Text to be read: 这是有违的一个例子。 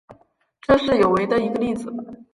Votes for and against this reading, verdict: 3, 0, accepted